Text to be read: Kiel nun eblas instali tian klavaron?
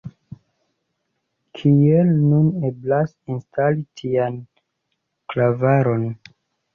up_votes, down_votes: 2, 0